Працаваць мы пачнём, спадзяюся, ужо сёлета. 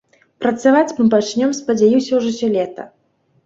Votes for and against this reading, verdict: 0, 2, rejected